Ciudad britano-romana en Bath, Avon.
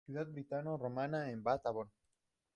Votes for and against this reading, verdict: 0, 2, rejected